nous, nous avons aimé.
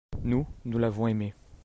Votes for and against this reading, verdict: 0, 2, rejected